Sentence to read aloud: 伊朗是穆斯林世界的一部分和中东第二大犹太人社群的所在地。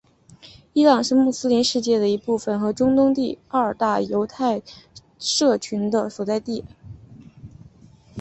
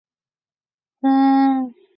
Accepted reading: first